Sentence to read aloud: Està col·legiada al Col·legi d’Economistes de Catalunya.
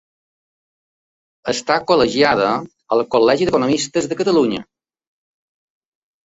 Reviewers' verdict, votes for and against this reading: accepted, 2, 0